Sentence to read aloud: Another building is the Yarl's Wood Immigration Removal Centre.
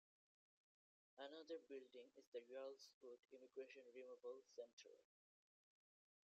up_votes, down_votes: 0, 2